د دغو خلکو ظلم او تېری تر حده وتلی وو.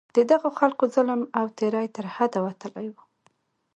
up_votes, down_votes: 2, 0